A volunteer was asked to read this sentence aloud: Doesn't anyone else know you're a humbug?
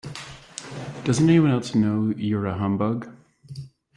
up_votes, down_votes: 2, 0